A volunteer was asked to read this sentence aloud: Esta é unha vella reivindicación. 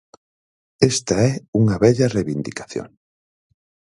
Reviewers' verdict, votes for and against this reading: rejected, 0, 4